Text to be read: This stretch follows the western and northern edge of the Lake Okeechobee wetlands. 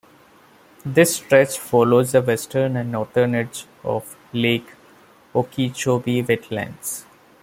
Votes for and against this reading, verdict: 0, 2, rejected